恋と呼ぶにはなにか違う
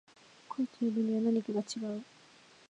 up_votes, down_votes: 0, 2